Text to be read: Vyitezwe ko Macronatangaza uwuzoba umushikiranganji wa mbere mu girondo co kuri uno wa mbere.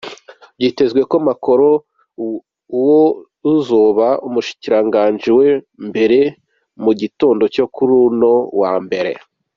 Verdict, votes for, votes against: accepted, 2, 1